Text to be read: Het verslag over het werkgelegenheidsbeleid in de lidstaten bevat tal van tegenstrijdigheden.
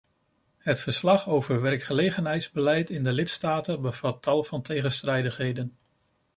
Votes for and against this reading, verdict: 0, 2, rejected